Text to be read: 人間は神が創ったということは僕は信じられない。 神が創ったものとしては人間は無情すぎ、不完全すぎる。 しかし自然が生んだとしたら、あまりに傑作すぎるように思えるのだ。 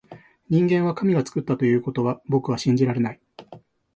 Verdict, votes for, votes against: rejected, 1, 2